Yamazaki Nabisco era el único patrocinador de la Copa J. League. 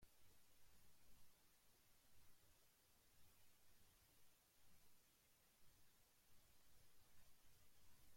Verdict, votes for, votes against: rejected, 0, 2